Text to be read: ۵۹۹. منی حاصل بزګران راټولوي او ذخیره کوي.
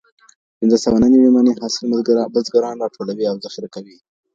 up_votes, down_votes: 0, 2